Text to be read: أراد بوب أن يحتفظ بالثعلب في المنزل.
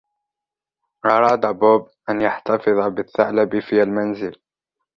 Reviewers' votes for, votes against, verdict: 1, 2, rejected